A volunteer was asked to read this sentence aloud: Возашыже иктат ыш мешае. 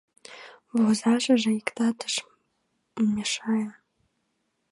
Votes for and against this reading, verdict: 1, 2, rejected